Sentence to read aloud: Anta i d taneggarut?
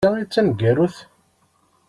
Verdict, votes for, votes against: rejected, 1, 2